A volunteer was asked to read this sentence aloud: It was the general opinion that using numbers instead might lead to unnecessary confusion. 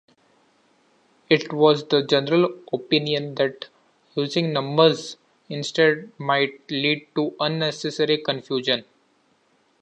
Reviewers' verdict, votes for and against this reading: accepted, 2, 1